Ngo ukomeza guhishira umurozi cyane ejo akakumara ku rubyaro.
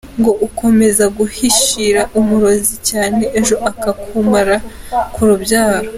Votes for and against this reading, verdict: 2, 0, accepted